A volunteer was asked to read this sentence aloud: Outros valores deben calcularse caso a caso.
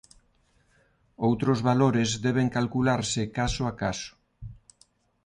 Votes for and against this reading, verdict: 2, 0, accepted